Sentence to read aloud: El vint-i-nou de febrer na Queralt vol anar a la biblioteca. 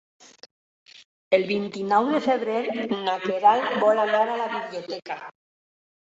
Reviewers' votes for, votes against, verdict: 4, 1, accepted